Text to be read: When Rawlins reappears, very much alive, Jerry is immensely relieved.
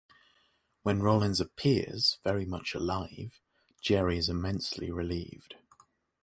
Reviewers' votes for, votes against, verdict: 0, 3, rejected